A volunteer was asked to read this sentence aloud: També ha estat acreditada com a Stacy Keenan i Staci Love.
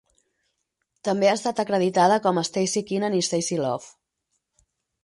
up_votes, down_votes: 0, 4